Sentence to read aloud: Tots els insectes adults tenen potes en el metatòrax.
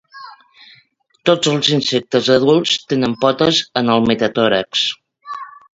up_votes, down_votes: 2, 0